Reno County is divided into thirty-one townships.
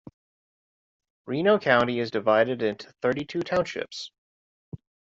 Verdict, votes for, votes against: rejected, 0, 2